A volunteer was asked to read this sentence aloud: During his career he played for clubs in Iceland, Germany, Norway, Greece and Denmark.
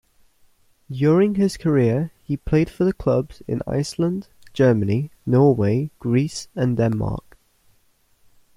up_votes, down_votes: 1, 2